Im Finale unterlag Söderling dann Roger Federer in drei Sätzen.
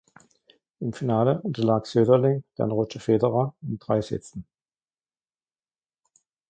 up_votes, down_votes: 2, 1